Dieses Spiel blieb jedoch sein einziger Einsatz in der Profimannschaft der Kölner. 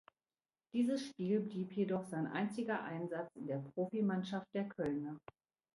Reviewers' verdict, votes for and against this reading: accepted, 2, 0